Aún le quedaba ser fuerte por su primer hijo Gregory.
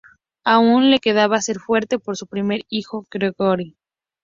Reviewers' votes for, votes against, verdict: 2, 0, accepted